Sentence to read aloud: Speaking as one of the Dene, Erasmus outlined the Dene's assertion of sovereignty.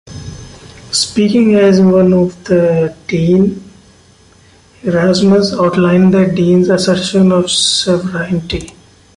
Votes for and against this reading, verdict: 2, 1, accepted